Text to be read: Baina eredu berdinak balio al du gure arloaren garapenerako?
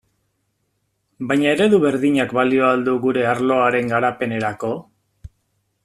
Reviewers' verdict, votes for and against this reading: accepted, 2, 0